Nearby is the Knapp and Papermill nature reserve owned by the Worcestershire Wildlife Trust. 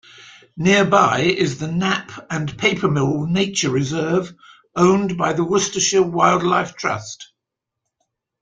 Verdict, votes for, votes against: accepted, 2, 1